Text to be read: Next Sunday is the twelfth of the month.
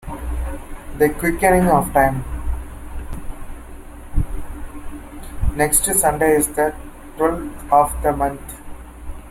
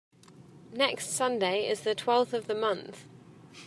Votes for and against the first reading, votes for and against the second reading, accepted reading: 0, 2, 2, 0, second